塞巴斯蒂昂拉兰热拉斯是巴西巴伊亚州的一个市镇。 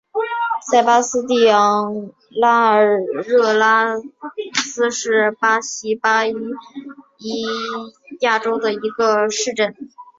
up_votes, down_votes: 0, 2